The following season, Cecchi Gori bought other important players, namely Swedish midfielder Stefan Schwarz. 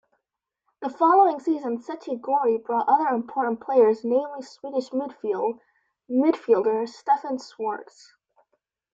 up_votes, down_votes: 1, 2